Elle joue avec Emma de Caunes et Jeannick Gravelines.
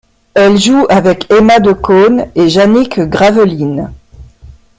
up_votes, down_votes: 2, 0